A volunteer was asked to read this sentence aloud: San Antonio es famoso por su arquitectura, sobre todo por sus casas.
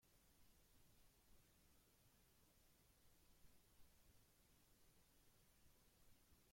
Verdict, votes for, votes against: rejected, 0, 2